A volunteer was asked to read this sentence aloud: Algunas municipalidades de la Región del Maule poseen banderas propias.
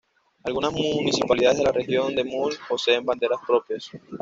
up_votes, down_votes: 1, 2